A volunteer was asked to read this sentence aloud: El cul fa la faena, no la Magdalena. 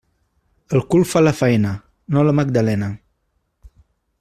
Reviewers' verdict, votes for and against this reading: accepted, 2, 1